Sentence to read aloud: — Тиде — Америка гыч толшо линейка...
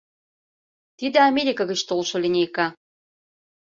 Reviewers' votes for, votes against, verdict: 2, 0, accepted